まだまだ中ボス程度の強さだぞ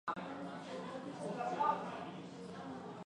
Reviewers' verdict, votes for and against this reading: rejected, 0, 2